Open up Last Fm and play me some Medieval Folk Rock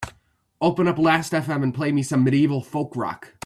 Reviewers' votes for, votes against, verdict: 3, 0, accepted